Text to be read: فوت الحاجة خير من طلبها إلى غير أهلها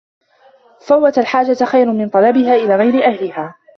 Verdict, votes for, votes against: rejected, 1, 2